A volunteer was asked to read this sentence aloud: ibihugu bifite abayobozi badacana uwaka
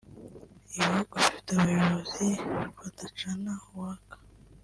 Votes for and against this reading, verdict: 1, 2, rejected